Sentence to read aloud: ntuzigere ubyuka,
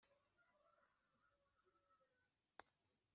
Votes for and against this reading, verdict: 2, 4, rejected